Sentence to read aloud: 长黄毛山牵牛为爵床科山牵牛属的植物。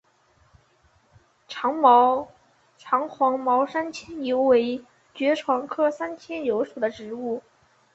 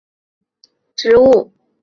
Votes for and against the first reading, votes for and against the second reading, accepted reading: 0, 3, 2, 0, second